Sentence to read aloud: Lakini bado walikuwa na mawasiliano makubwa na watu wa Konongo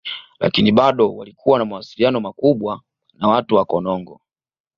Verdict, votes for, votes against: accepted, 2, 0